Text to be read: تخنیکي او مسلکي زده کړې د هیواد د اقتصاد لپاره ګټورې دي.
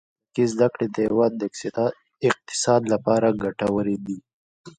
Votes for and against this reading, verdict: 2, 0, accepted